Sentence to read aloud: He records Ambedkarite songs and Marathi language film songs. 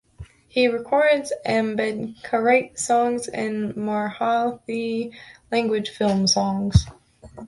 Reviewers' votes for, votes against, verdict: 0, 2, rejected